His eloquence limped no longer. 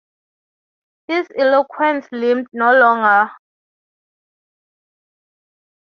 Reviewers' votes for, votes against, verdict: 0, 3, rejected